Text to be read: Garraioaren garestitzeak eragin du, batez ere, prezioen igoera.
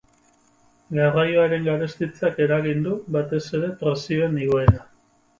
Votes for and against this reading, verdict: 6, 0, accepted